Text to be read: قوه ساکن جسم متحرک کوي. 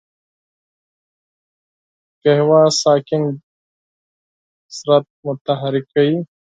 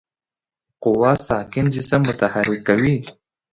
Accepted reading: second